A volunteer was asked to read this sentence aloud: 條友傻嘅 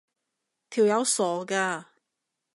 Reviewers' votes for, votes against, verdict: 0, 2, rejected